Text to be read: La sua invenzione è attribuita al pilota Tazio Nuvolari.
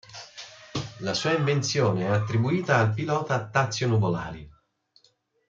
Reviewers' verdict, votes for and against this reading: rejected, 1, 2